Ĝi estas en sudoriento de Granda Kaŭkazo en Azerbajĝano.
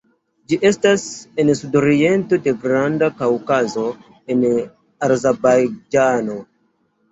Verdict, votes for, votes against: rejected, 0, 2